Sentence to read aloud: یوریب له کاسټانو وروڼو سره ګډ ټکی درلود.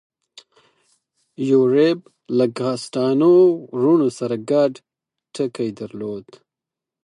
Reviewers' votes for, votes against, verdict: 2, 4, rejected